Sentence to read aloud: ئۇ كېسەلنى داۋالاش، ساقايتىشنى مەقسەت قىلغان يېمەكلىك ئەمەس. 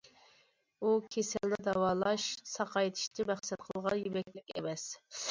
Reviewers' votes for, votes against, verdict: 2, 0, accepted